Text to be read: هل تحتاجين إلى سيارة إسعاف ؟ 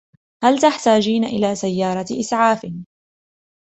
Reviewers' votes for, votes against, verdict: 2, 0, accepted